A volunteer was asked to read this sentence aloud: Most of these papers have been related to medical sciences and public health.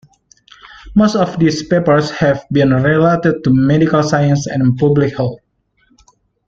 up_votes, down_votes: 2, 1